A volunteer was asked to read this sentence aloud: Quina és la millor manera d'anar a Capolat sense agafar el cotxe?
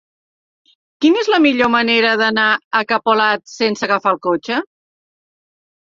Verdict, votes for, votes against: accepted, 3, 0